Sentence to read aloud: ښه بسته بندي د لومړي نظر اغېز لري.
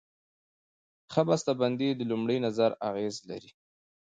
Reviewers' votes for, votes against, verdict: 1, 2, rejected